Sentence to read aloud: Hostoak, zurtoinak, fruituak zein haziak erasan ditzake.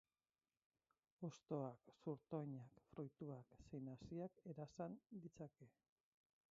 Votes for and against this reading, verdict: 0, 4, rejected